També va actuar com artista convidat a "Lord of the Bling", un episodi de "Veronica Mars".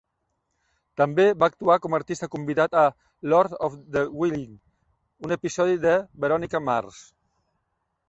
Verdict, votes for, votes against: rejected, 0, 2